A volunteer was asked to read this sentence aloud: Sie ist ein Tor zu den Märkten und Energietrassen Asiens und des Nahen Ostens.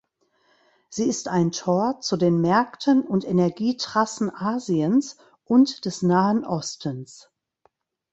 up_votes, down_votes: 2, 0